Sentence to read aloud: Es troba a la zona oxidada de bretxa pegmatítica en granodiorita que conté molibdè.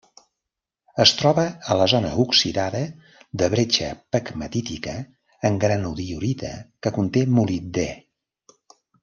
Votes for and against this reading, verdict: 2, 0, accepted